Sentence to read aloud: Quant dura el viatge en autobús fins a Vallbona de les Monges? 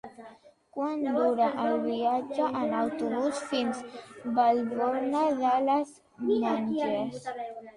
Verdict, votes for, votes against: rejected, 0, 2